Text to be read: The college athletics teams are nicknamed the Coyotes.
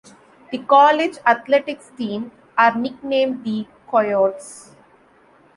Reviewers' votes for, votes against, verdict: 0, 2, rejected